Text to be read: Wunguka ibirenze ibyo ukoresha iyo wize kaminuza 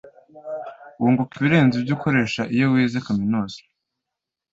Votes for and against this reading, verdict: 2, 0, accepted